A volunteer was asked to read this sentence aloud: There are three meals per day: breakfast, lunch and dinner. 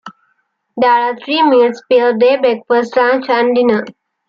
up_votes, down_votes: 2, 1